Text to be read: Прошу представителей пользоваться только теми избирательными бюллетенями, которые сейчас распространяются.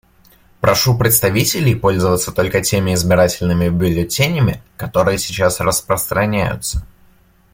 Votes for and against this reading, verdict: 2, 0, accepted